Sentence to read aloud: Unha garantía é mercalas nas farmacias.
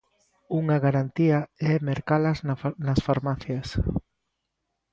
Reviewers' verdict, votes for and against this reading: rejected, 0, 2